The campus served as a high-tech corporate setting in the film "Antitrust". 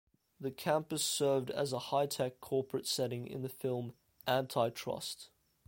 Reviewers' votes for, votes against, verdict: 1, 2, rejected